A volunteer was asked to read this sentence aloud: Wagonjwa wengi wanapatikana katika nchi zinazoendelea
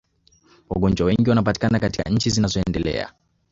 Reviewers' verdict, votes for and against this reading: rejected, 1, 2